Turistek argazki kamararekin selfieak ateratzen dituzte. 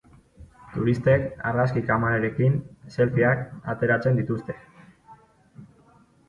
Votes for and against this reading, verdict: 3, 1, accepted